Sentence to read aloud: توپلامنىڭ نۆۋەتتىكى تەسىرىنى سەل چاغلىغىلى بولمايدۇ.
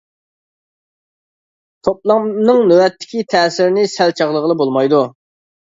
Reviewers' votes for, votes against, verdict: 3, 0, accepted